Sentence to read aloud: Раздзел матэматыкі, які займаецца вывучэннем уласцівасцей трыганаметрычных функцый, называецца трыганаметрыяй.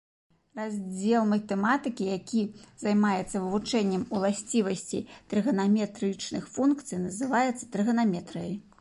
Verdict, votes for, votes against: accepted, 3, 0